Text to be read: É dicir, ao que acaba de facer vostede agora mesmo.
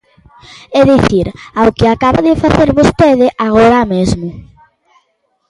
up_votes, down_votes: 2, 0